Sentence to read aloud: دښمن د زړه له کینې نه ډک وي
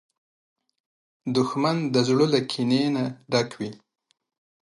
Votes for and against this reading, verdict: 2, 0, accepted